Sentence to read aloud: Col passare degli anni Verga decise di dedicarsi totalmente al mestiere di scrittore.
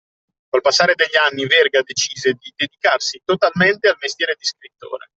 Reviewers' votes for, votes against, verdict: 2, 0, accepted